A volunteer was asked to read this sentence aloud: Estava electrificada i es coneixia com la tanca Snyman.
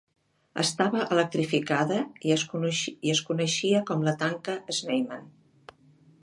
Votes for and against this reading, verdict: 0, 2, rejected